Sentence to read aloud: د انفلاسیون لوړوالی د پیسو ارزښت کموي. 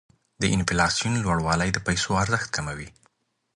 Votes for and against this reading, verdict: 2, 0, accepted